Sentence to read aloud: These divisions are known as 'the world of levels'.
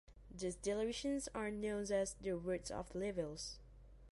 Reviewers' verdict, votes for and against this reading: rejected, 0, 2